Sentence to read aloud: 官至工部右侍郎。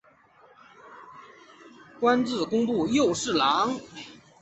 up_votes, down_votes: 2, 0